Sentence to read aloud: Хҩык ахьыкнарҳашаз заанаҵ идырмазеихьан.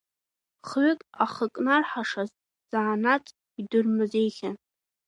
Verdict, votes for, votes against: rejected, 0, 2